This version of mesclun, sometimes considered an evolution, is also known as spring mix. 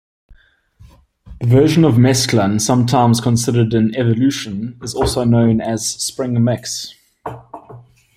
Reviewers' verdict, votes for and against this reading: rejected, 1, 2